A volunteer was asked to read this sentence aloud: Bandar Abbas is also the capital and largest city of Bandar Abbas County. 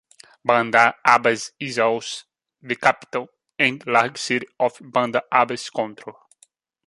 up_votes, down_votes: 0, 2